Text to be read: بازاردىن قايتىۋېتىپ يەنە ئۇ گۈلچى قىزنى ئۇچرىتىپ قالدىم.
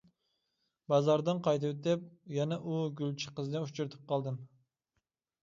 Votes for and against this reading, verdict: 2, 0, accepted